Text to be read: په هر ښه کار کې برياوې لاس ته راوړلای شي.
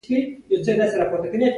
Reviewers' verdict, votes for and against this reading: rejected, 1, 2